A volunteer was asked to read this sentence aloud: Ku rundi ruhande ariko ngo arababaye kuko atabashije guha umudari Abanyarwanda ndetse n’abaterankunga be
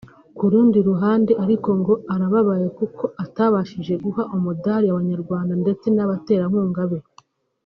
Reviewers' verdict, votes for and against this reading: accepted, 2, 0